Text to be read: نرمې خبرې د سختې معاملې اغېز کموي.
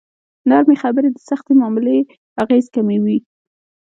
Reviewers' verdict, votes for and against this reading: rejected, 0, 2